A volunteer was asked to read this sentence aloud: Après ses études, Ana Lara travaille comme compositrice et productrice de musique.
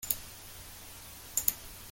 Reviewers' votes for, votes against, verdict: 0, 2, rejected